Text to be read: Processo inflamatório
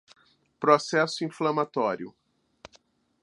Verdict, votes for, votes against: accepted, 2, 0